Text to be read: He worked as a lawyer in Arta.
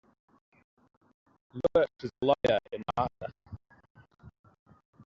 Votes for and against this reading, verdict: 0, 2, rejected